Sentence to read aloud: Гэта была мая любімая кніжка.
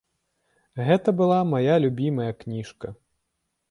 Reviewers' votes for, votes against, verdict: 2, 0, accepted